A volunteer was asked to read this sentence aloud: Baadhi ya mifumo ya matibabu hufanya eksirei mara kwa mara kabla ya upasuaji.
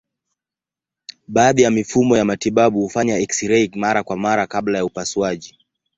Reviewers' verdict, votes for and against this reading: rejected, 0, 2